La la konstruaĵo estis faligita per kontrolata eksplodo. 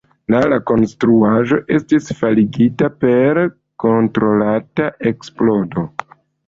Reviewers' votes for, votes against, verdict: 1, 2, rejected